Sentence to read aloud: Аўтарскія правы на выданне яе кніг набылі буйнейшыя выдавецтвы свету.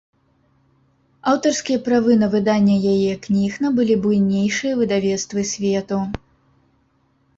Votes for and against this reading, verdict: 2, 0, accepted